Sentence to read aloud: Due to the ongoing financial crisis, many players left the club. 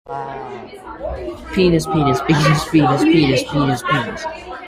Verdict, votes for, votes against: rejected, 0, 2